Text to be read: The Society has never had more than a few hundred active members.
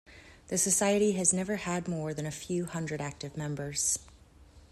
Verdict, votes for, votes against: rejected, 1, 2